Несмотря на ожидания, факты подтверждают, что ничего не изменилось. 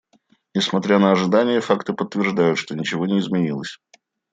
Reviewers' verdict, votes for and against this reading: accepted, 2, 0